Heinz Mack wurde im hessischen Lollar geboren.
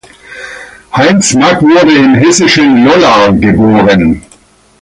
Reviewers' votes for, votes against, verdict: 2, 1, accepted